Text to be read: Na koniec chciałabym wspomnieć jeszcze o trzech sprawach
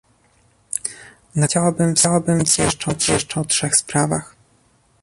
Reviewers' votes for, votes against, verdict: 0, 2, rejected